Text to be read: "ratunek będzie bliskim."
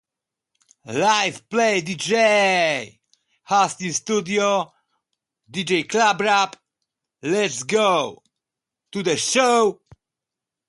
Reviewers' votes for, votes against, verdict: 0, 2, rejected